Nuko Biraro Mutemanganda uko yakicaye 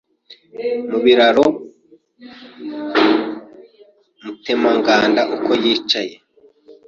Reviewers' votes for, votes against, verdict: 1, 2, rejected